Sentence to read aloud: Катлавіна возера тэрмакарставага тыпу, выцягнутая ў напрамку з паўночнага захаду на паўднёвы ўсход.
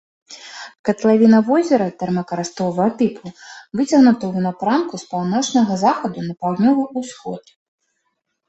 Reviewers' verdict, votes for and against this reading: rejected, 0, 2